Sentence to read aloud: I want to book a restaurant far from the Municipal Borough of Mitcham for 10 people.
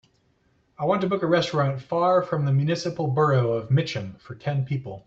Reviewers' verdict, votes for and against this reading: rejected, 0, 2